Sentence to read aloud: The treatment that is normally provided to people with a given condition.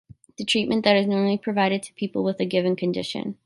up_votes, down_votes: 3, 0